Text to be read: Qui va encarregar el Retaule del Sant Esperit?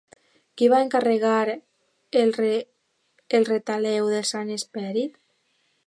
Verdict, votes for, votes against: rejected, 0, 3